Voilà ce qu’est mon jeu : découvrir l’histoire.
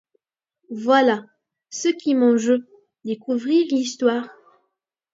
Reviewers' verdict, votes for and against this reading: accepted, 2, 0